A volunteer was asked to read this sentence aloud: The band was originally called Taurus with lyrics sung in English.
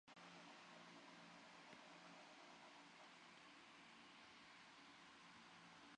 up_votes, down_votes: 0, 2